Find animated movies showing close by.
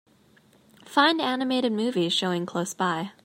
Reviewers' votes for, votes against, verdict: 2, 0, accepted